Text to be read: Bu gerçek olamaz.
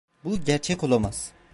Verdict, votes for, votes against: accepted, 2, 0